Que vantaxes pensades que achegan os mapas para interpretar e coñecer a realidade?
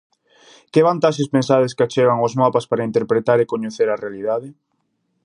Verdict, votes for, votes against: accepted, 2, 0